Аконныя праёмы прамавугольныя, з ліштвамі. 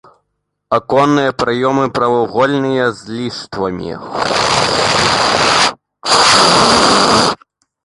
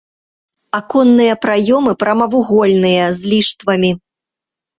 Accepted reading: second